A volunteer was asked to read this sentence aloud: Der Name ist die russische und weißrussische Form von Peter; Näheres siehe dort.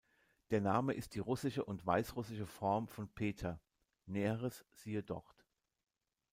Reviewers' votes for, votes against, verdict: 2, 0, accepted